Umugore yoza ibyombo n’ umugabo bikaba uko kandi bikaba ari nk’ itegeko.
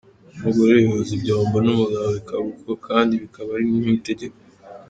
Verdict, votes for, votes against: accepted, 3, 0